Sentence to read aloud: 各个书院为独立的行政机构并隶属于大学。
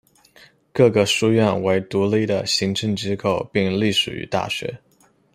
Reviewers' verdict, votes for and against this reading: accepted, 2, 0